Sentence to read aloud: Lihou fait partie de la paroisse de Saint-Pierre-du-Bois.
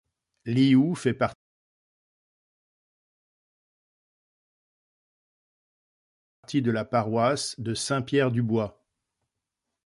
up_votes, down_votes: 0, 2